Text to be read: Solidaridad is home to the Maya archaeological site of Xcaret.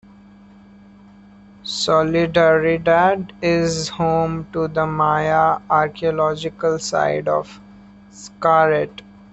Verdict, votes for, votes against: rejected, 1, 2